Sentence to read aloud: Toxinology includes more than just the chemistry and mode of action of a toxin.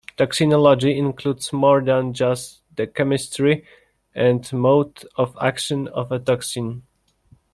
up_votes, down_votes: 1, 2